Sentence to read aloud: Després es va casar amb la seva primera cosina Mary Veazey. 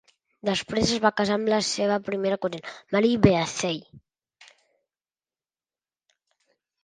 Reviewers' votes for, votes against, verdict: 0, 2, rejected